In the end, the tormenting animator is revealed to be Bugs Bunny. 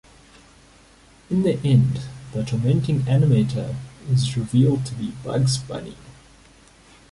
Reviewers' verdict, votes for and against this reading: rejected, 0, 2